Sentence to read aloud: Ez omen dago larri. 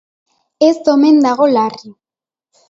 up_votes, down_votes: 3, 0